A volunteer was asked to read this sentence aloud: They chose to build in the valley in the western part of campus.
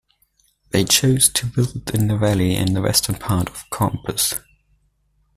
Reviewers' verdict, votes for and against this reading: accepted, 2, 1